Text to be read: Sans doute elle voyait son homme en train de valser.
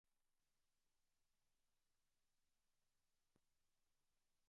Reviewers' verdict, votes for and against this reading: rejected, 0, 2